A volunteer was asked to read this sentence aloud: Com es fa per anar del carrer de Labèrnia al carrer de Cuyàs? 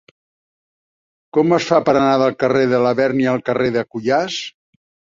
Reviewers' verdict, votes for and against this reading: accepted, 2, 0